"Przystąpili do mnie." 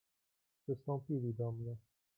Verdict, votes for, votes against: rejected, 1, 2